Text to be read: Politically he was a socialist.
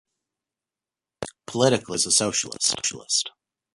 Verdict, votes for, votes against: rejected, 1, 2